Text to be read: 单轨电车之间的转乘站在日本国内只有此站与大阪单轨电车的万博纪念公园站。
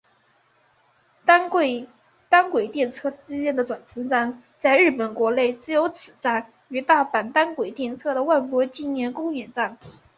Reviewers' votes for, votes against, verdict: 1, 3, rejected